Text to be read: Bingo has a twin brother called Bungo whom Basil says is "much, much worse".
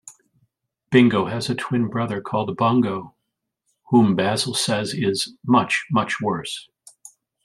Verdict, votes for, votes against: accepted, 2, 0